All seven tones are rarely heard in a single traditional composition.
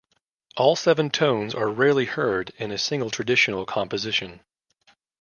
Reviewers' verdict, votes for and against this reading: accepted, 2, 0